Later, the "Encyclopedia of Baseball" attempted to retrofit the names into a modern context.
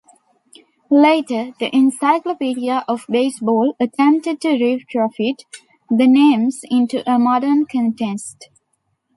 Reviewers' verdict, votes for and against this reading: accepted, 2, 1